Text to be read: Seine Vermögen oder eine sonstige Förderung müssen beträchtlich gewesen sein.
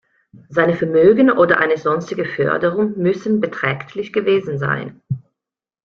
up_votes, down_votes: 2, 0